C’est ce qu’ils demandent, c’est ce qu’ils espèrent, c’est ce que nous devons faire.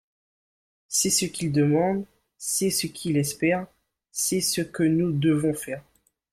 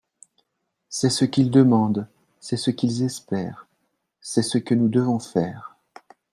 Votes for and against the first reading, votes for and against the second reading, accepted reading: 1, 2, 2, 0, second